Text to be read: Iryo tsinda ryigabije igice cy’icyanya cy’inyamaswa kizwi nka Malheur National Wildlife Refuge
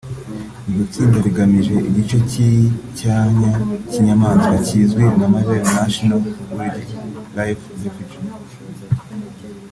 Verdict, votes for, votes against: accepted, 2, 0